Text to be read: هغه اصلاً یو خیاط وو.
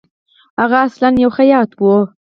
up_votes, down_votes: 4, 2